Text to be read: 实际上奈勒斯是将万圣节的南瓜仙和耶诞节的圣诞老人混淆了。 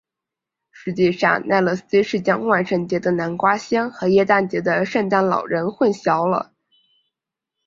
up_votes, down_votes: 4, 1